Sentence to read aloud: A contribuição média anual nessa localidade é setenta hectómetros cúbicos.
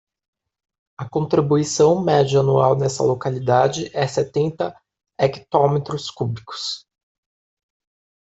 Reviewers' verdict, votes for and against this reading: rejected, 0, 2